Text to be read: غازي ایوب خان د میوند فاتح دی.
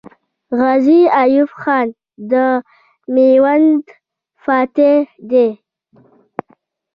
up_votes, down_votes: 0, 2